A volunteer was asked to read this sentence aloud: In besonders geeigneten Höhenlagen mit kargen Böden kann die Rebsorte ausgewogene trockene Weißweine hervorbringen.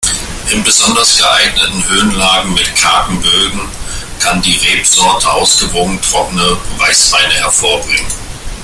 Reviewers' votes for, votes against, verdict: 2, 1, accepted